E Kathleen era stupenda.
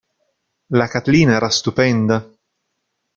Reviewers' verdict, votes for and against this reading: rejected, 0, 2